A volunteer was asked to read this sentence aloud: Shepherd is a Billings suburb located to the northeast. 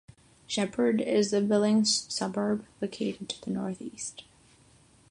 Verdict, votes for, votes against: rejected, 3, 3